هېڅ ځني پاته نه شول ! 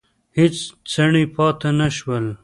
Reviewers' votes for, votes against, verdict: 1, 2, rejected